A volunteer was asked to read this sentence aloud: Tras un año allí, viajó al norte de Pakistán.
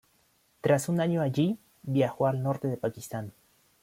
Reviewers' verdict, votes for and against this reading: accepted, 2, 0